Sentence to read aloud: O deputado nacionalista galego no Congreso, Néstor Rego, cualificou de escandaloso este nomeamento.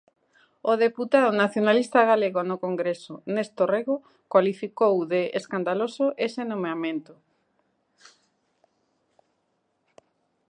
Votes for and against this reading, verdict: 0, 2, rejected